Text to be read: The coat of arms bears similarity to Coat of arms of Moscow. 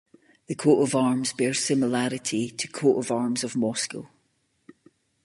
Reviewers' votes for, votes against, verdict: 2, 0, accepted